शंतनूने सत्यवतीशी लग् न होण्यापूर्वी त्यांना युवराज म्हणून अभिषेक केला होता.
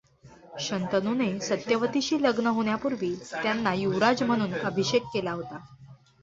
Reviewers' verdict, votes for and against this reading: accepted, 2, 0